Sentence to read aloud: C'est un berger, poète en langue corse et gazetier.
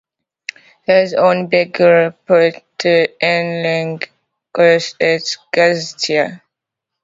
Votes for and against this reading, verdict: 0, 2, rejected